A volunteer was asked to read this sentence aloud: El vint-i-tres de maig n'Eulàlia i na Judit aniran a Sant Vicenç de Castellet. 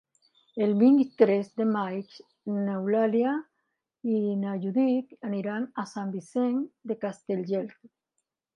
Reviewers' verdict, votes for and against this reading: rejected, 0, 2